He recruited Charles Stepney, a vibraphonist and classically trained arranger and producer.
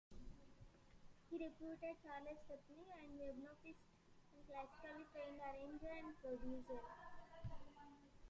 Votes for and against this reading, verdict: 0, 2, rejected